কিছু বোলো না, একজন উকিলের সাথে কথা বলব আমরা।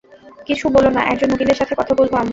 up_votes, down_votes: 0, 2